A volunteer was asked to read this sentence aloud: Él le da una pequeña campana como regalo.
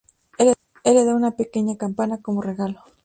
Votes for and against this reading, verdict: 0, 2, rejected